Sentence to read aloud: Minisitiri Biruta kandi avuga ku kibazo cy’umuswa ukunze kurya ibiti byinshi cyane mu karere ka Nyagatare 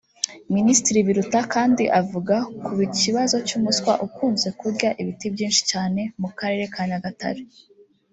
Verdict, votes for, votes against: rejected, 0, 2